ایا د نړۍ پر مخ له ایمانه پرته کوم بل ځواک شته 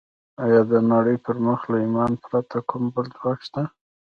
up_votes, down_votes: 3, 2